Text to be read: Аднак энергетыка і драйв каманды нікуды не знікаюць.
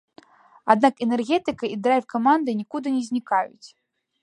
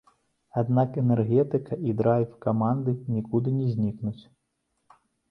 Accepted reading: first